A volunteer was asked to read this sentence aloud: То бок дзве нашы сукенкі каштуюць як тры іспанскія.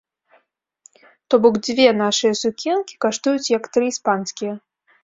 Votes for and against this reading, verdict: 1, 2, rejected